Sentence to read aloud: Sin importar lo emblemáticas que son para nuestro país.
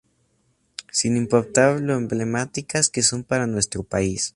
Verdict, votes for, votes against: accepted, 2, 0